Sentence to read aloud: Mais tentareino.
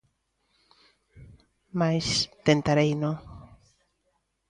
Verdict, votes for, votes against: rejected, 1, 2